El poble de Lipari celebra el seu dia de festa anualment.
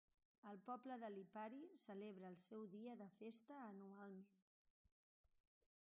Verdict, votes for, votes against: rejected, 0, 3